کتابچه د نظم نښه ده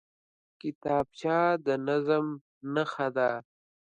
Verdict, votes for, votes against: accepted, 2, 0